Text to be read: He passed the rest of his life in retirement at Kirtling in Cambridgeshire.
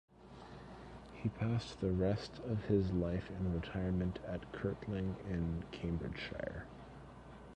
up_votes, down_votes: 1, 2